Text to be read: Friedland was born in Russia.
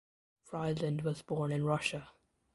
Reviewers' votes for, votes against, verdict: 1, 2, rejected